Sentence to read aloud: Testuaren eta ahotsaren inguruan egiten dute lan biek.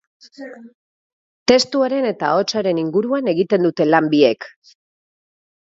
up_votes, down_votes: 2, 0